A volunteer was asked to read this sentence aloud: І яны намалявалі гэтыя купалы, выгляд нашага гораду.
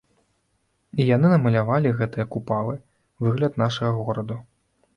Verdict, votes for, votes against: rejected, 0, 2